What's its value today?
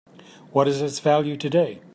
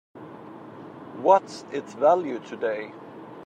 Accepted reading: second